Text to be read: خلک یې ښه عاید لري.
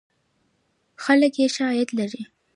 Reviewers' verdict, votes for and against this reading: accepted, 2, 0